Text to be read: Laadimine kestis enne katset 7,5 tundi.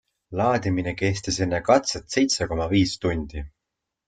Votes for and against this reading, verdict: 0, 2, rejected